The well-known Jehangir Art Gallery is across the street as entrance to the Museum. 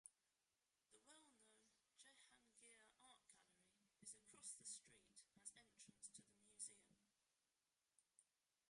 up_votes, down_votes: 0, 2